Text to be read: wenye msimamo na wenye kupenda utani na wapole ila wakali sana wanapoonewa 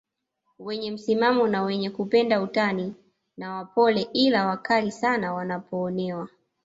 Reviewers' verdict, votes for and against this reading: rejected, 1, 2